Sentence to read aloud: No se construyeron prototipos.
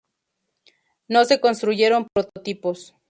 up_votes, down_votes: 2, 2